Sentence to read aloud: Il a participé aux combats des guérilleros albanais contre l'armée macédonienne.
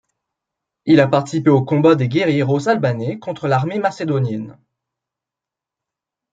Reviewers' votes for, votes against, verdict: 2, 0, accepted